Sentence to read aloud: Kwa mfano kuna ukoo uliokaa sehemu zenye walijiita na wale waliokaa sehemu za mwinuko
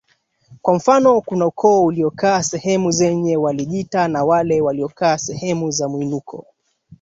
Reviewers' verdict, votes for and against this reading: accepted, 2, 1